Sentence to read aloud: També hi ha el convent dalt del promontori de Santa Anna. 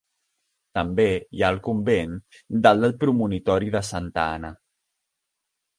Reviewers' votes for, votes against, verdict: 0, 2, rejected